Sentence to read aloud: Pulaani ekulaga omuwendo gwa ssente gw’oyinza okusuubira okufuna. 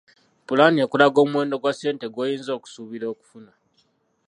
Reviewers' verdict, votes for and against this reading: rejected, 0, 2